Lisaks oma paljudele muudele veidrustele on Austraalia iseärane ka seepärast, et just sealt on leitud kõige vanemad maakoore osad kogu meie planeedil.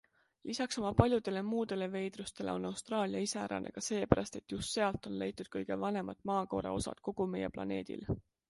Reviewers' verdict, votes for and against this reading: accepted, 2, 0